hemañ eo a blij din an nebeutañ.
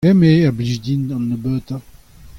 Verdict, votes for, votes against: accepted, 2, 0